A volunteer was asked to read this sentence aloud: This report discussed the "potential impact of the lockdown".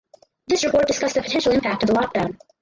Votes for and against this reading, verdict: 2, 2, rejected